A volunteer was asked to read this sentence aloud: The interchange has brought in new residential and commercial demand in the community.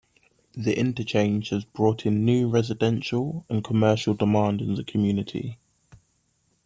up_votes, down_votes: 2, 0